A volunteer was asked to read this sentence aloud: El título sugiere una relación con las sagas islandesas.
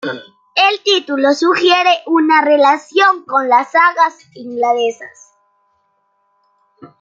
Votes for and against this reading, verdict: 1, 2, rejected